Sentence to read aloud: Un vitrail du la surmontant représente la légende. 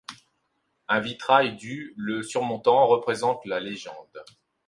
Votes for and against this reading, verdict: 0, 2, rejected